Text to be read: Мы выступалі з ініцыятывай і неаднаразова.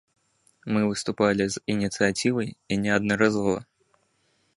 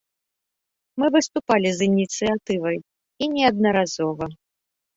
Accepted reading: second